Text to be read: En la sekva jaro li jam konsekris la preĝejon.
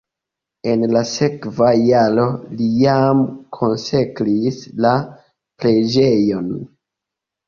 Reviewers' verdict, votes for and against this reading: accepted, 2, 0